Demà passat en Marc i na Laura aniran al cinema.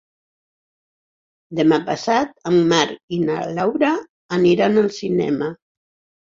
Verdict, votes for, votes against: accepted, 6, 0